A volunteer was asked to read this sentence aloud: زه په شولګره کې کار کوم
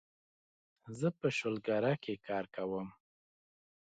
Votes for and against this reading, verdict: 2, 0, accepted